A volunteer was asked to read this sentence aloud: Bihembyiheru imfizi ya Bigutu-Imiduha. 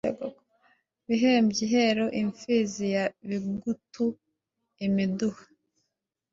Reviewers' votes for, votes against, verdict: 1, 2, rejected